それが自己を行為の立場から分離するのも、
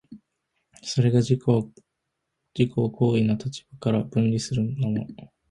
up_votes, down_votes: 1, 2